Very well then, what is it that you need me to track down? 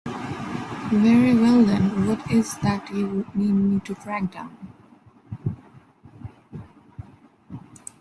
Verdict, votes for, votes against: rejected, 1, 2